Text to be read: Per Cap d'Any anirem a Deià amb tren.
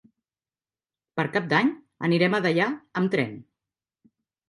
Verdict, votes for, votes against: accepted, 3, 0